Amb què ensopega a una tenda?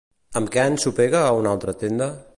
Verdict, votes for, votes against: rejected, 1, 2